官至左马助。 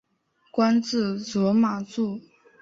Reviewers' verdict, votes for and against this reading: accepted, 2, 0